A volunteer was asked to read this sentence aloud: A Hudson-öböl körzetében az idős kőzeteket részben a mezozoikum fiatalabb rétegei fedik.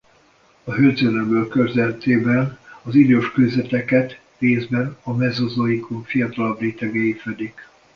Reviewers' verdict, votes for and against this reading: rejected, 0, 2